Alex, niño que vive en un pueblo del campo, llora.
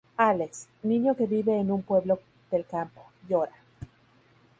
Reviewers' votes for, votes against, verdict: 0, 2, rejected